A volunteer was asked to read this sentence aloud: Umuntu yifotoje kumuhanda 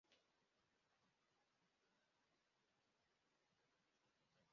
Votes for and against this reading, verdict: 0, 2, rejected